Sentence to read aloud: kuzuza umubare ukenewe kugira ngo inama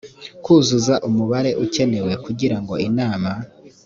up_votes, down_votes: 2, 0